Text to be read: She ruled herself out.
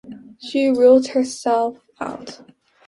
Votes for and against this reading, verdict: 2, 0, accepted